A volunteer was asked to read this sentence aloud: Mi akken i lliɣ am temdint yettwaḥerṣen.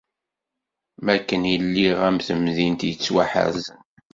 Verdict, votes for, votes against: rejected, 1, 2